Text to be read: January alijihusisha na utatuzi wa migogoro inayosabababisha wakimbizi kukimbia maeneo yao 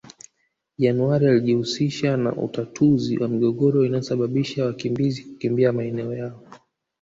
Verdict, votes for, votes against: rejected, 1, 2